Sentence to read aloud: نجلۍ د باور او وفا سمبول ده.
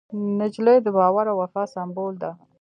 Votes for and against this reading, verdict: 2, 0, accepted